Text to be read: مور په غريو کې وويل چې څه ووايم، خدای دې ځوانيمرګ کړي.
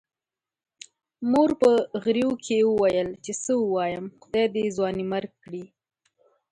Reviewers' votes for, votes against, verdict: 3, 1, accepted